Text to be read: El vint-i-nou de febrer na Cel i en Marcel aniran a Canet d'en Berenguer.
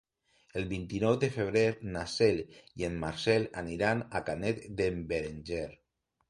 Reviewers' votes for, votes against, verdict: 2, 1, accepted